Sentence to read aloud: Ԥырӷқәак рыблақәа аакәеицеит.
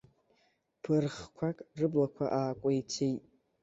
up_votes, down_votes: 2, 0